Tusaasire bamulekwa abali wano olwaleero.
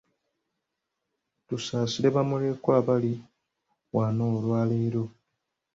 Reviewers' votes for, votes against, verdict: 2, 0, accepted